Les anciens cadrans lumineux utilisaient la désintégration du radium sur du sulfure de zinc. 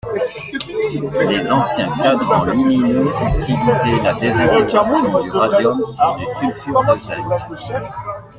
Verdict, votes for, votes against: accepted, 2, 1